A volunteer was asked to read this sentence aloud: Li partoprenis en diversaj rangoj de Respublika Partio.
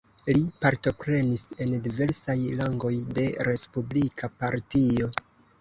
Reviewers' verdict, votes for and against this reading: accepted, 3, 2